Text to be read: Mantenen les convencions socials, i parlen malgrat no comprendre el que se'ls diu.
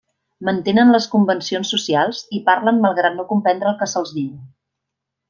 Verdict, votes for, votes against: accepted, 3, 0